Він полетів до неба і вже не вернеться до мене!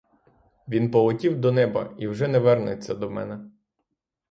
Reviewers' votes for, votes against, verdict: 3, 3, rejected